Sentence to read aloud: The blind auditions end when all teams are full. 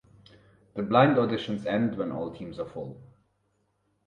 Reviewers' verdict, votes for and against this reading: rejected, 2, 2